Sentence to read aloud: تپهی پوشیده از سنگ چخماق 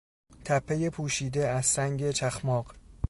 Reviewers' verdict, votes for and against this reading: accepted, 3, 0